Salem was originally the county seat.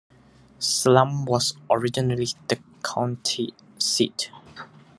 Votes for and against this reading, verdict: 2, 1, accepted